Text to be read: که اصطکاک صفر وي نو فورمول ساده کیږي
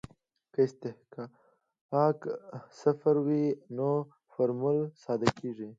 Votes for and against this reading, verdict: 0, 2, rejected